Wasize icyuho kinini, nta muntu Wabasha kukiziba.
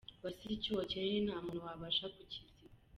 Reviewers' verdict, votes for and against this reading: rejected, 1, 2